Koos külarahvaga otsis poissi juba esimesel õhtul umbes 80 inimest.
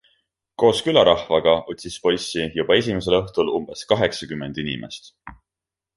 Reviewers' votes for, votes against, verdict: 0, 2, rejected